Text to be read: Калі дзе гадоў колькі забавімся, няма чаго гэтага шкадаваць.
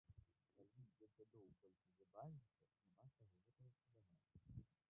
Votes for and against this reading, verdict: 0, 2, rejected